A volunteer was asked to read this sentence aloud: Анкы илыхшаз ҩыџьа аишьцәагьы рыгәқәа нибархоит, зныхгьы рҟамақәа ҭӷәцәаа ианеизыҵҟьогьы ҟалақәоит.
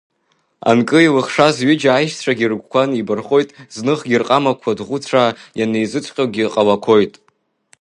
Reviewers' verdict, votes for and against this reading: accepted, 2, 0